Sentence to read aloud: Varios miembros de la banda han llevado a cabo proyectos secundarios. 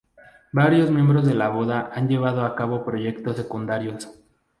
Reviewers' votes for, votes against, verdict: 0, 2, rejected